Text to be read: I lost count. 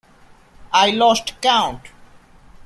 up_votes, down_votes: 2, 0